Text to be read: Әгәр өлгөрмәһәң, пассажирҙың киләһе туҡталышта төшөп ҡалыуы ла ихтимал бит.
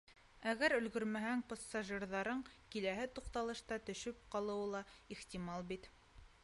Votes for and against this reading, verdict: 1, 2, rejected